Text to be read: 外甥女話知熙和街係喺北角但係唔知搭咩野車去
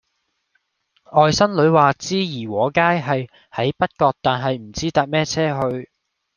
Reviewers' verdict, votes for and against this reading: rejected, 0, 2